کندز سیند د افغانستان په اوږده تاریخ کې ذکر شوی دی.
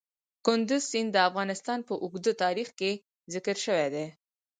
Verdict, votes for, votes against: accepted, 4, 2